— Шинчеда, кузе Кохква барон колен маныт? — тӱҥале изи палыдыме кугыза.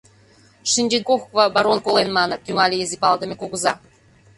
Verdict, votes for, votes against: rejected, 0, 2